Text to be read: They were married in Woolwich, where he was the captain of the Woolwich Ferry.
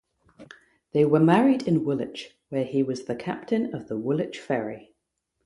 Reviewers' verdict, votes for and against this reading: rejected, 0, 3